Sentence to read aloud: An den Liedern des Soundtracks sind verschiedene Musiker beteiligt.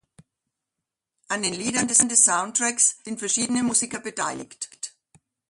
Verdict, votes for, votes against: accepted, 2, 1